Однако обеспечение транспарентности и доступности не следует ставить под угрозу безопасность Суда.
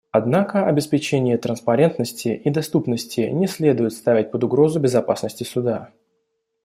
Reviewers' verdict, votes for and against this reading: rejected, 1, 2